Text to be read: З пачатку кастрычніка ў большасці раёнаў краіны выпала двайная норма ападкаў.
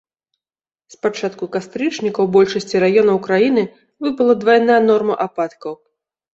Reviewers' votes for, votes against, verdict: 2, 1, accepted